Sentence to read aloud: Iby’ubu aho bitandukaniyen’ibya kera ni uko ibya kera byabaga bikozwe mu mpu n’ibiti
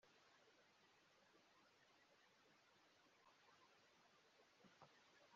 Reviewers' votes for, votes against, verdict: 0, 2, rejected